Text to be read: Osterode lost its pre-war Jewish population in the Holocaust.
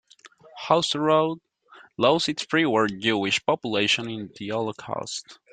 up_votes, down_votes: 0, 2